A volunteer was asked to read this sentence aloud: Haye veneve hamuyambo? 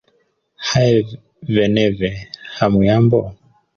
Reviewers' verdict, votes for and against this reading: rejected, 0, 2